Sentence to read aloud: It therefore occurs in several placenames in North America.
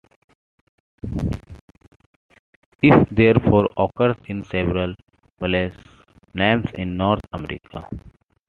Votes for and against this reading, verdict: 2, 0, accepted